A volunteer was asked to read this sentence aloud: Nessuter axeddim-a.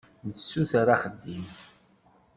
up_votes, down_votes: 0, 2